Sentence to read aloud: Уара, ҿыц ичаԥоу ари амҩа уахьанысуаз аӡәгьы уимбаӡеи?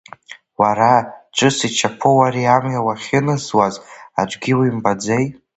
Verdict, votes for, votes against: rejected, 0, 2